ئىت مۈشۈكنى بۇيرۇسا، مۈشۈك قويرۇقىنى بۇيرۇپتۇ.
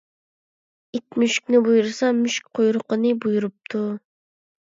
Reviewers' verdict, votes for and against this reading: accepted, 2, 0